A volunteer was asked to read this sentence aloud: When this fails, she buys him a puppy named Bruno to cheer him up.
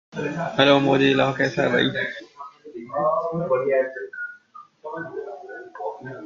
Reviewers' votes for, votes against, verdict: 0, 2, rejected